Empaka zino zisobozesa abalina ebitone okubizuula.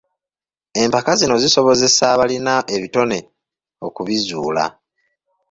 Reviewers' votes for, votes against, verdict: 2, 0, accepted